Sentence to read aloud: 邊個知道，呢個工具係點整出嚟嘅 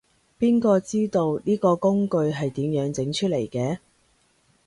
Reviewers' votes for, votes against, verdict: 0, 2, rejected